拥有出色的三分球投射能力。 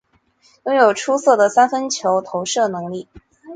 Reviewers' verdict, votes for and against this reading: accepted, 3, 0